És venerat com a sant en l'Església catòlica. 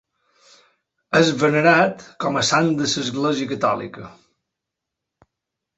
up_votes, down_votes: 0, 2